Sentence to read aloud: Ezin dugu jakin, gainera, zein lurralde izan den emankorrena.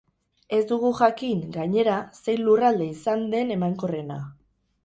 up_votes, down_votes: 0, 2